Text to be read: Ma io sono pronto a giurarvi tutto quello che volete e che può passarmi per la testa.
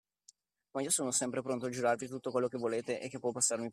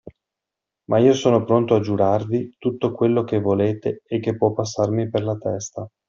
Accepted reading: second